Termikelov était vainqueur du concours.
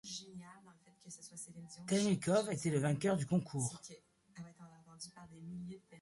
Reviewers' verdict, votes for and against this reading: rejected, 1, 2